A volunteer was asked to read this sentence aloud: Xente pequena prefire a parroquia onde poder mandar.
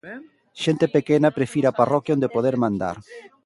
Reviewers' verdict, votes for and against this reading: rejected, 1, 2